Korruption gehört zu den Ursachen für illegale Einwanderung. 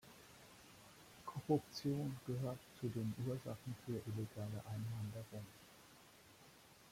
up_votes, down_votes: 1, 2